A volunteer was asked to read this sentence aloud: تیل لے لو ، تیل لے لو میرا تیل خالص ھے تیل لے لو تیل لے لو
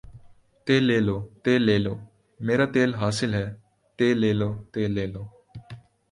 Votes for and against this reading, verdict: 1, 2, rejected